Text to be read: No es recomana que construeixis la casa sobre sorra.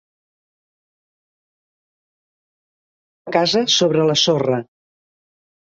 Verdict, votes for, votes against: rejected, 0, 2